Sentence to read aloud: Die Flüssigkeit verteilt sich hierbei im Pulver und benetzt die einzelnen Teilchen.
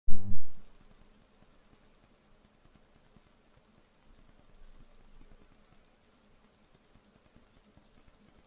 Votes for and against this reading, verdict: 0, 2, rejected